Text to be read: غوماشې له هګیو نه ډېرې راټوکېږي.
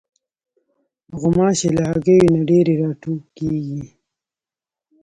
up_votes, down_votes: 2, 3